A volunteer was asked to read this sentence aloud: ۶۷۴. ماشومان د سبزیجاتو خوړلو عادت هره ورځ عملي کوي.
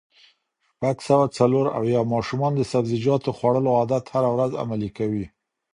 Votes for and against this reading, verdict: 0, 2, rejected